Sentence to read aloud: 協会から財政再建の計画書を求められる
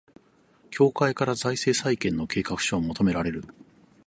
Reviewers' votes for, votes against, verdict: 6, 0, accepted